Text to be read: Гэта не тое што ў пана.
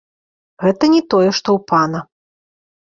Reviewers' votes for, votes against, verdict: 2, 0, accepted